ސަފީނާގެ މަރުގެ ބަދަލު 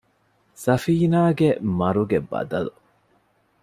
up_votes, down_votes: 2, 0